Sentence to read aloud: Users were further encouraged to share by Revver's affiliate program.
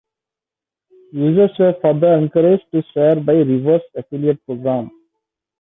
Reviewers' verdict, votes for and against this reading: rejected, 1, 2